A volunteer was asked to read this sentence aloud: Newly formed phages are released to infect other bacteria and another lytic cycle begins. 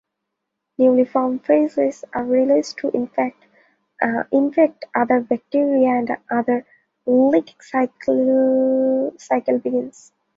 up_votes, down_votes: 0, 2